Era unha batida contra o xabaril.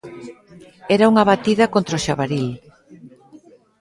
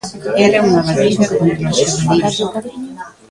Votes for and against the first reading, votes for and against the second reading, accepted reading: 2, 0, 0, 2, first